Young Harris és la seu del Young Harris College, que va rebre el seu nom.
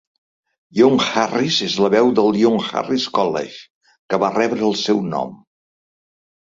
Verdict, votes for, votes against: rejected, 0, 2